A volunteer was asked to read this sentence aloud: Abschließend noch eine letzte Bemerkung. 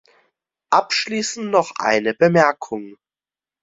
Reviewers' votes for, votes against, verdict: 0, 2, rejected